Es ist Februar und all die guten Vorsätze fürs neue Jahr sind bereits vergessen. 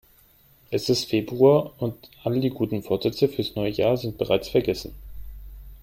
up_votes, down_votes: 3, 0